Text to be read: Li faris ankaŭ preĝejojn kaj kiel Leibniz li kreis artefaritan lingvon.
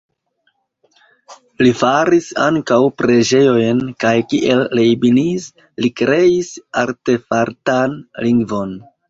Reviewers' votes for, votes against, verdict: 1, 2, rejected